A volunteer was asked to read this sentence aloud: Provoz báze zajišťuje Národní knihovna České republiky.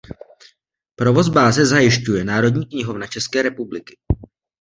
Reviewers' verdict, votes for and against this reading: accepted, 2, 0